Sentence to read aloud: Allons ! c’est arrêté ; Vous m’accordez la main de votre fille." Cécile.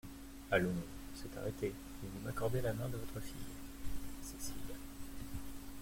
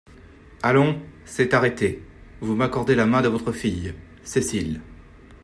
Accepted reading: second